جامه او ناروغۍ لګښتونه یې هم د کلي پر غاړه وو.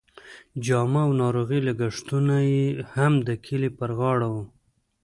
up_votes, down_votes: 1, 2